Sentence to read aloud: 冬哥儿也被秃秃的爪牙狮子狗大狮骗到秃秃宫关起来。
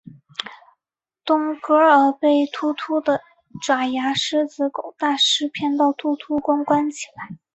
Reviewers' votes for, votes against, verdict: 0, 2, rejected